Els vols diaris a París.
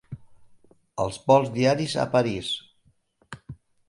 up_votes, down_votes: 3, 0